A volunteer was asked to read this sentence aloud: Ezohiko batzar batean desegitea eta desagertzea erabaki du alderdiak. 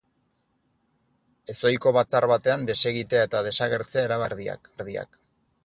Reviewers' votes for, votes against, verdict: 0, 4, rejected